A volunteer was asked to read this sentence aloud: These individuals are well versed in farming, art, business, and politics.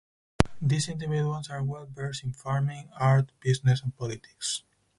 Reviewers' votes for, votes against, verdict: 2, 4, rejected